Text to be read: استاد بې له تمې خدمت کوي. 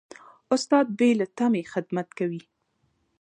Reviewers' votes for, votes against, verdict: 2, 0, accepted